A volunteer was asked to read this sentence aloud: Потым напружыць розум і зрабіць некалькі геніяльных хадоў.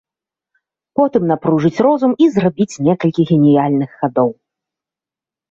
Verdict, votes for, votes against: rejected, 1, 2